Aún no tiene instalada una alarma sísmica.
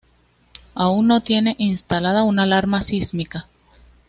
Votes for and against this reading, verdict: 2, 0, accepted